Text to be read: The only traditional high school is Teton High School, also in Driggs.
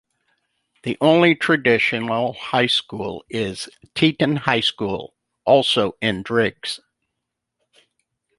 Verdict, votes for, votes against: accepted, 2, 0